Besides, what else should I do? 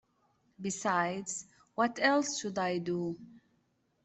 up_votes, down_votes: 2, 0